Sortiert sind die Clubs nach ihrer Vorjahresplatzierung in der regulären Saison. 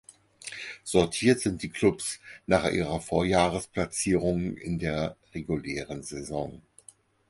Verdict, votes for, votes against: rejected, 0, 4